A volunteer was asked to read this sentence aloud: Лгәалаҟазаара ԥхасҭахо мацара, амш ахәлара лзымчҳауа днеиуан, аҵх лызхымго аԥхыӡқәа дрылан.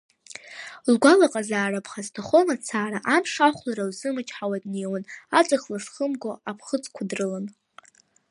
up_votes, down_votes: 2, 0